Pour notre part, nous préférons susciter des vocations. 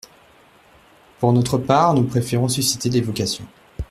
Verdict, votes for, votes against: accepted, 2, 0